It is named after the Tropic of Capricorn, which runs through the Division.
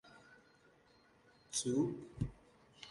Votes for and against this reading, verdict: 0, 3, rejected